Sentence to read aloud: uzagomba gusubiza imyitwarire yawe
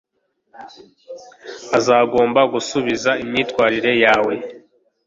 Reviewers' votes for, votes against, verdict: 1, 2, rejected